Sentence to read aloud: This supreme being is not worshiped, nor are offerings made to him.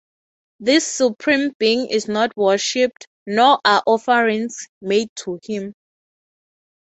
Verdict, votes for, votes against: accepted, 3, 0